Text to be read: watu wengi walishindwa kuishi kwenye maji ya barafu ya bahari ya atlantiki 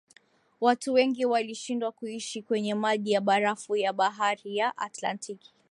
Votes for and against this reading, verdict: 2, 0, accepted